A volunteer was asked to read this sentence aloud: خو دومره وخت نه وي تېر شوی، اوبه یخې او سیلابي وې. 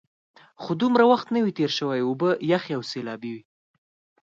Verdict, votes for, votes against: accepted, 4, 0